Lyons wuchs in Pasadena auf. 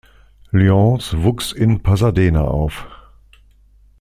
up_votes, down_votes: 2, 0